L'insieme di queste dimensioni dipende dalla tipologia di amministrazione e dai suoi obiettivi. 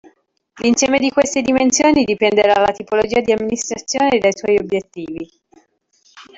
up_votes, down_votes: 1, 2